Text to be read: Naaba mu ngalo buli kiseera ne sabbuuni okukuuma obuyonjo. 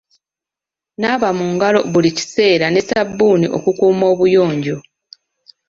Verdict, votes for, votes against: accepted, 2, 0